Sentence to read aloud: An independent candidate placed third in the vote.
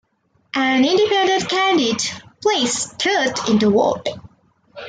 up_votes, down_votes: 1, 2